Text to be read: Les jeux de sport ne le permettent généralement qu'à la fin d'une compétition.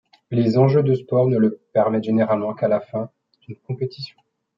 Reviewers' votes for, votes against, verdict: 0, 2, rejected